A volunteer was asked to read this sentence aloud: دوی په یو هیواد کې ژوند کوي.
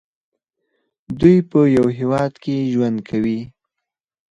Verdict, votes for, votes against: rejected, 2, 2